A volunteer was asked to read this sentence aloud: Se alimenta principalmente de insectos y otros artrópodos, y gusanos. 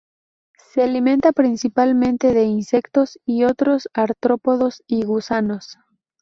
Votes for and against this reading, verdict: 2, 2, rejected